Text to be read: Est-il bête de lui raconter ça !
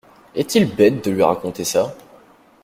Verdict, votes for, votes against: accepted, 2, 0